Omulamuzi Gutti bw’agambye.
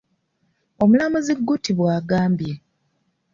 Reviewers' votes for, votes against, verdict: 2, 0, accepted